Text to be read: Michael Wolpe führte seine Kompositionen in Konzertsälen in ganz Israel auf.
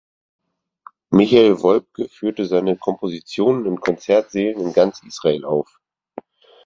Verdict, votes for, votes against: rejected, 2, 4